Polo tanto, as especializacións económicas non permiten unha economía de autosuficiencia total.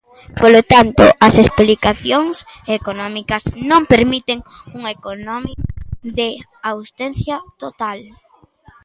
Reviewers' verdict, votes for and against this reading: rejected, 0, 2